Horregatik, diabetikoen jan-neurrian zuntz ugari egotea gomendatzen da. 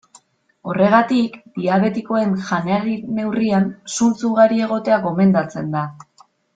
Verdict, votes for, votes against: rejected, 0, 2